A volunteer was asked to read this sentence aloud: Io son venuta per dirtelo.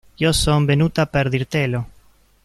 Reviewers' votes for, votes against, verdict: 0, 2, rejected